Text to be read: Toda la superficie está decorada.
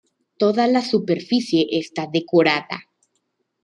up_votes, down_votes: 2, 0